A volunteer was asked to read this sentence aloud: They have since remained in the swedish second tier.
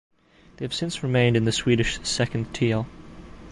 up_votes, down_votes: 1, 2